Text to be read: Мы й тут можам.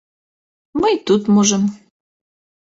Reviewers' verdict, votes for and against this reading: accepted, 2, 0